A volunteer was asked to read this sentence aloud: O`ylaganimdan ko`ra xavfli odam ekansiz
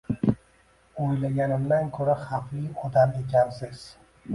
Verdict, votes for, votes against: accepted, 2, 1